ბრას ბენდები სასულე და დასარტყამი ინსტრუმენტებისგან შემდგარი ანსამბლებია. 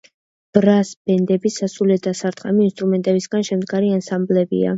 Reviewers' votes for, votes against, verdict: 2, 0, accepted